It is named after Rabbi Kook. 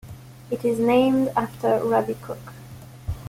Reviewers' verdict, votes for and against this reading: rejected, 1, 2